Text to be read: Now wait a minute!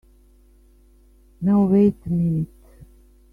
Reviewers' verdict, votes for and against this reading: rejected, 0, 2